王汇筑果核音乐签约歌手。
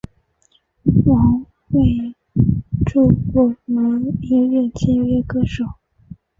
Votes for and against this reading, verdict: 2, 3, rejected